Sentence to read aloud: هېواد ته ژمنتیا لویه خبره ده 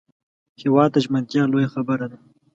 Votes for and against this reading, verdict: 2, 0, accepted